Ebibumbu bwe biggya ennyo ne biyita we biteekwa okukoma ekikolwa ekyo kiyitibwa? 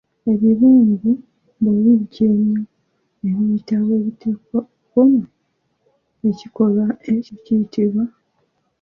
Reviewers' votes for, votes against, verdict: 1, 2, rejected